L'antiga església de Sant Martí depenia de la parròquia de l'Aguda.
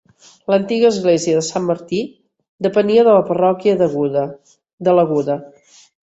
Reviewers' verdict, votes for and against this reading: rejected, 0, 2